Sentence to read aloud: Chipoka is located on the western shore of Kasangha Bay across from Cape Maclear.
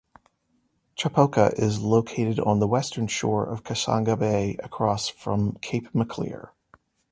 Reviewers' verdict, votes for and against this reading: accepted, 2, 0